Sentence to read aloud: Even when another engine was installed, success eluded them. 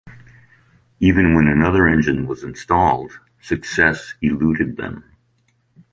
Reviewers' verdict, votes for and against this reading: accepted, 2, 0